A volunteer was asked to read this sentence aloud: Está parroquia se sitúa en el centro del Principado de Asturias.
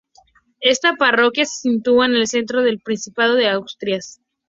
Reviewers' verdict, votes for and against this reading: rejected, 2, 4